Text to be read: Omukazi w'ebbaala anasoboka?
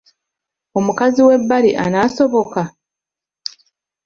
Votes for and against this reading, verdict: 1, 2, rejected